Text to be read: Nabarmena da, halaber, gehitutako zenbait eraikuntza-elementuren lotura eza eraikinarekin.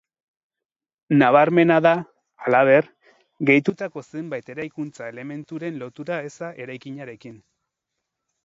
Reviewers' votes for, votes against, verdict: 0, 2, rejected